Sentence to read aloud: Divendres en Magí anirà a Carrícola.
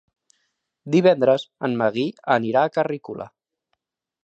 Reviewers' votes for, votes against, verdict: 1, 2, rejected